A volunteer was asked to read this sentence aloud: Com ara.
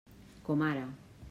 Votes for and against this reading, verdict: 3, 0, accepted